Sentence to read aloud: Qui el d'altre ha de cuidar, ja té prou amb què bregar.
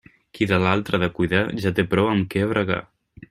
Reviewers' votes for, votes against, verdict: 1, 2, rejected